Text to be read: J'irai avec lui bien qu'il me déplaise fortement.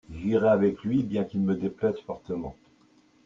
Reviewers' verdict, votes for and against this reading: accepted, 2, 0